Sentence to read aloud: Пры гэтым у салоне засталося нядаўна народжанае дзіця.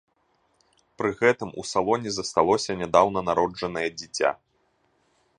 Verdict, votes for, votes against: accepted, 2, 0